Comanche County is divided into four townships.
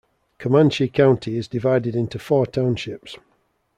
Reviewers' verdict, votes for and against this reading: accepted, 2, 0